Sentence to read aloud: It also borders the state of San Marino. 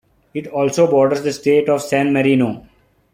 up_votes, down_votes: 2, 0